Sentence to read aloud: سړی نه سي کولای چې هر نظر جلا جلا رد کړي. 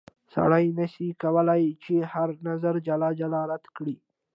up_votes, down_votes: 2, 1